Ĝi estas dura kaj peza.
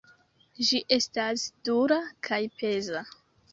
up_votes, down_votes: 2, 1